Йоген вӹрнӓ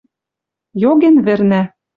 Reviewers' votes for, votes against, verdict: 2, 0, accepted